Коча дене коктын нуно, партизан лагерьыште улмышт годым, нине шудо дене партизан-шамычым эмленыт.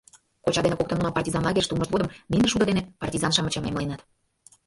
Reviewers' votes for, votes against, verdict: 1, 2, rejected